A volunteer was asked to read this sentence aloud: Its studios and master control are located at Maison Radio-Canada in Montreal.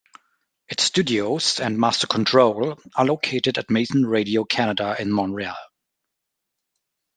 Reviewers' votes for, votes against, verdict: 1, 2, rejected